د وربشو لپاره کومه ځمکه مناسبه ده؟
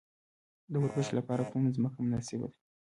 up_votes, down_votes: 0, 2